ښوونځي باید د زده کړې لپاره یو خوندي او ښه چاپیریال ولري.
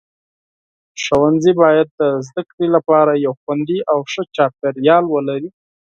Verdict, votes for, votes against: accepted, 4, 0